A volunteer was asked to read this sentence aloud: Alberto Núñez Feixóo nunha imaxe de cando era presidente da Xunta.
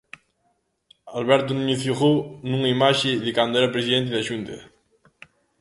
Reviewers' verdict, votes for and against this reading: rejected, 0, 2